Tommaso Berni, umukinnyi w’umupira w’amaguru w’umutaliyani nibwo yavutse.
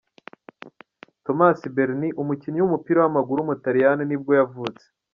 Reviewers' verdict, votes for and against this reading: accepted, 2, 1